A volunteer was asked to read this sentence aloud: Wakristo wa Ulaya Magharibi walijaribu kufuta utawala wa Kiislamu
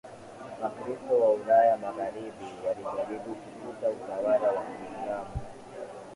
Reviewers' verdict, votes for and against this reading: rejected, 0, 7